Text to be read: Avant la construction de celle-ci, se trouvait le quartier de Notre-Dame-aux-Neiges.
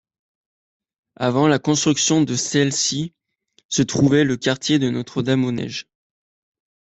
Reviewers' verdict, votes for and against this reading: accepted, 2, 0